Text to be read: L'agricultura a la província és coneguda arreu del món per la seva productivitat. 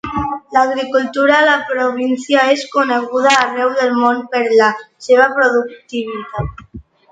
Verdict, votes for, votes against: accepted, 2, 0